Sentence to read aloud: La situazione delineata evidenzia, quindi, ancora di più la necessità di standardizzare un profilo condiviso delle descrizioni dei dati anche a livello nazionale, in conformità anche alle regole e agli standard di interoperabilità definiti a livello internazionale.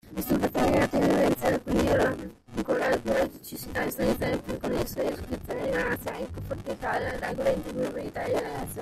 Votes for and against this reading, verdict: 0, 2, rejected